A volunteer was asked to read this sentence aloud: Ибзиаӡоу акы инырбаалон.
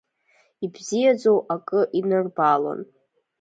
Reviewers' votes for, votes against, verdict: 2, 0, accepted